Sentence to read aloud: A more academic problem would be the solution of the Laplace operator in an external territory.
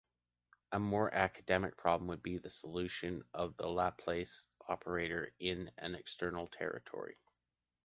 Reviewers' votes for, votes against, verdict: 3, 0, accepted